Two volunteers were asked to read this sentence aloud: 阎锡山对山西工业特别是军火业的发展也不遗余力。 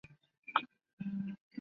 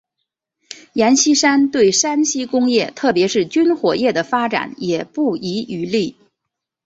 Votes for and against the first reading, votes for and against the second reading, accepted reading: 0, 3, 3, 2, second